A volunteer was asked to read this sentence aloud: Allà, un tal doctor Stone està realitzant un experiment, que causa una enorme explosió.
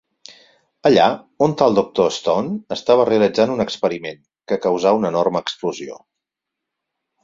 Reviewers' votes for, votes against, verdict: 0, 4, rejected